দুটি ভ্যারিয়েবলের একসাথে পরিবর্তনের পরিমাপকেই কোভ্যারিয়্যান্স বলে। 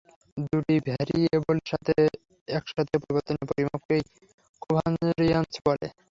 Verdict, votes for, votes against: rejected, 0, 3